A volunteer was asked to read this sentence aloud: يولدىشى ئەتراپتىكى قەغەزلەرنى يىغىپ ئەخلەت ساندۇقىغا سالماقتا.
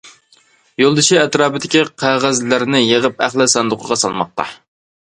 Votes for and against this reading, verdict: 0, 2, rejected